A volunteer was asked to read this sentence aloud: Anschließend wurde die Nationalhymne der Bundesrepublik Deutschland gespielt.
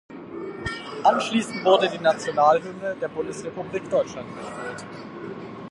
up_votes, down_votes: 4, 0